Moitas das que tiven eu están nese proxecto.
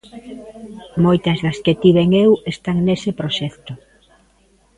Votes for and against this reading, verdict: 2, 0, accepted